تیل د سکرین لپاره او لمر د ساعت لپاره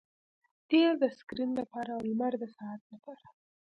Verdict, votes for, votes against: accepted, 2, 0